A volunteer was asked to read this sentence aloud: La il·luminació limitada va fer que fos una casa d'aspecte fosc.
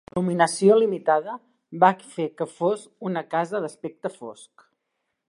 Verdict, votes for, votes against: rejected, 1, 2